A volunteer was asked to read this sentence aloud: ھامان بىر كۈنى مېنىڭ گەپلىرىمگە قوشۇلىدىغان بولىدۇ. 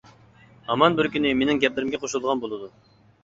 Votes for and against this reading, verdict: 2, 0, accepted